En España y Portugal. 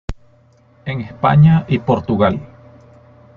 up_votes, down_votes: 2, 0